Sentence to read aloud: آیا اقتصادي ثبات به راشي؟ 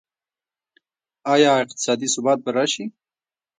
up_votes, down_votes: 2, 0